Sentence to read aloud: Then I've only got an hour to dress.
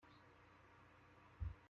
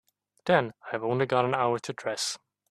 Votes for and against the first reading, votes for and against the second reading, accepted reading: 0, 2, 3, 0, second